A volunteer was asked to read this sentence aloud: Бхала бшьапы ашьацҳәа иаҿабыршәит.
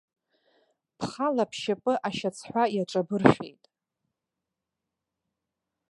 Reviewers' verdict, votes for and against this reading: rejected, 1, 2